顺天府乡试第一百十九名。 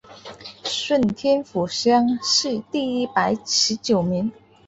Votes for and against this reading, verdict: 3, 0, accepted